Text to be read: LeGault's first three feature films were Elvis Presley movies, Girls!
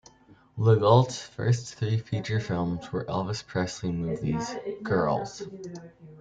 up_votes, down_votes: 2, 0